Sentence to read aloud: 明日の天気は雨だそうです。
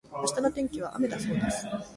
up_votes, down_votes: 0, 2